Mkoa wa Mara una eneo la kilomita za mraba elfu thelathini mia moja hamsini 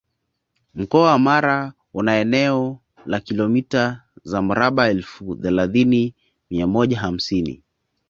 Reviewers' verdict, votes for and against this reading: accepted, 2, 0